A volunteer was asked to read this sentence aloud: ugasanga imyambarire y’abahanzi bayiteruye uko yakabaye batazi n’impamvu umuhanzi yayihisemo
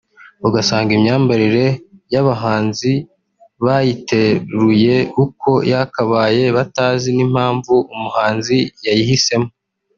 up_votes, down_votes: 2, 0